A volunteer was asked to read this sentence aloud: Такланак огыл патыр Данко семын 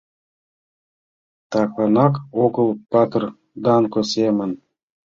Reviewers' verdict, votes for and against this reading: accepted, 2, 0